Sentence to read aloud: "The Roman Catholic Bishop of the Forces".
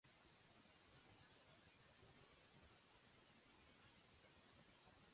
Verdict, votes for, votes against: rejected, 0, 2